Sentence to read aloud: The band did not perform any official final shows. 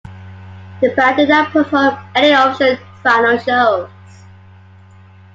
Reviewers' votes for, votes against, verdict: 2, 1, accepted